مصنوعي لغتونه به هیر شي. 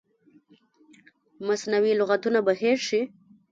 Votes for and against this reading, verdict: 0, 2, rejected